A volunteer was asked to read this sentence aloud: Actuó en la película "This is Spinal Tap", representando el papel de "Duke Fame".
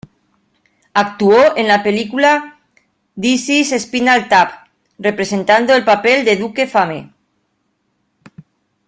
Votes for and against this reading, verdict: 0, 2, rejected